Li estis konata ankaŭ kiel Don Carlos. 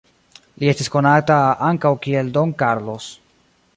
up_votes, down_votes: 1, 2